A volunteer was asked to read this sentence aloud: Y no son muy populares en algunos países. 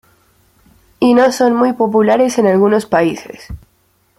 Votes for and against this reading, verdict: 2, 0, accepted